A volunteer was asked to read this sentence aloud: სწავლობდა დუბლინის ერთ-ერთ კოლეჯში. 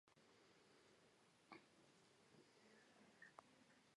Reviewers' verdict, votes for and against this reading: rejected, 1, 2